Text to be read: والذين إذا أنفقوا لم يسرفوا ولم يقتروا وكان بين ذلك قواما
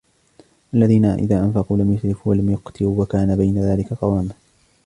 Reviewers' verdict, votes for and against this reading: rejected, 0, 2